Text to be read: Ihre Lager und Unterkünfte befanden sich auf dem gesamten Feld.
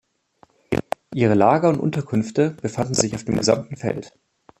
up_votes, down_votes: 2, 1